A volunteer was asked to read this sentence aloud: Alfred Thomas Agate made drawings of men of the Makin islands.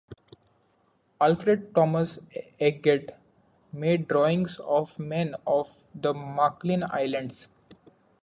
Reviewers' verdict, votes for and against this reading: rejected, 1, 2